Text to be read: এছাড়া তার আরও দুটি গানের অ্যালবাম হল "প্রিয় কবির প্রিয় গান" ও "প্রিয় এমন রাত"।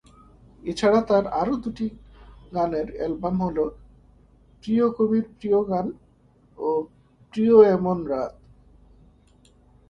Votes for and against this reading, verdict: 0, 2, rejected